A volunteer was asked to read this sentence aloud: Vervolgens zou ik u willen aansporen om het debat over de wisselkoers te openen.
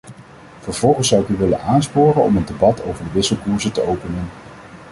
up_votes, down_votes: 1, 2